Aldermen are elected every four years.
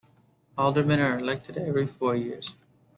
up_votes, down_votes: 2, 0